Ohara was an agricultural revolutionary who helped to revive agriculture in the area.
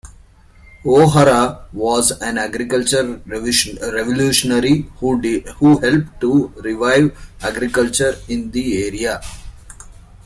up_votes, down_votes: 1, 2